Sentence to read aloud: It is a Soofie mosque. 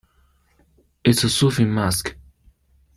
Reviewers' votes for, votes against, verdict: 1, 2, rejected